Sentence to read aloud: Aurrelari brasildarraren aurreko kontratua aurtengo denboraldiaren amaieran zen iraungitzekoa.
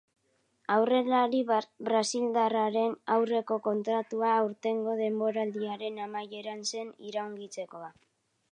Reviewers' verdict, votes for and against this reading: rejected, 0, 2